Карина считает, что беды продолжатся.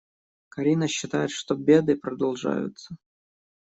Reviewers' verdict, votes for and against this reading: rejected, 0, 2